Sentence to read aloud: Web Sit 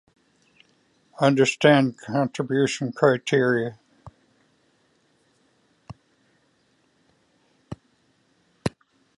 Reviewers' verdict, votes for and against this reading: rejected, 0, 2